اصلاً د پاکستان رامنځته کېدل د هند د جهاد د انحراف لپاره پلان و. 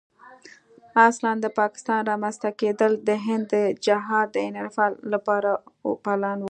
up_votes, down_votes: 1, 2